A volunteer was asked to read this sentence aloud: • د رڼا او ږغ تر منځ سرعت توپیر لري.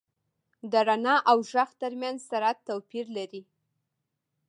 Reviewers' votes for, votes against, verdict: 0, 2, rejected